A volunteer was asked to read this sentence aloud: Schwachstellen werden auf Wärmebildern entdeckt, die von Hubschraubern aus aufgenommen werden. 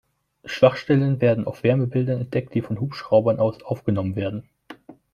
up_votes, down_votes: 2, 0